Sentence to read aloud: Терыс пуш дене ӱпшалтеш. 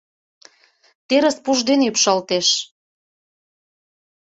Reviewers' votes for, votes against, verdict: 2, 0, accepted